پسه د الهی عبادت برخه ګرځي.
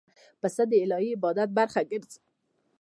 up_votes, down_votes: 0, 2